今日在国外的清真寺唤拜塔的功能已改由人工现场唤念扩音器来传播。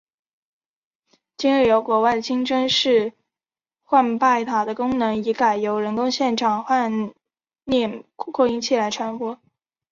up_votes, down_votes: 2, 1